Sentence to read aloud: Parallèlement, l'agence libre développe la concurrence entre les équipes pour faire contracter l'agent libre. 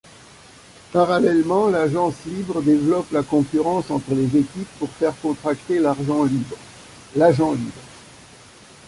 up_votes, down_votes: 0, 2